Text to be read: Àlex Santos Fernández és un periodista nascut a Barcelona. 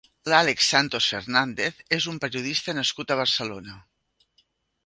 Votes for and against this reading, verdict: 2, 3, rejected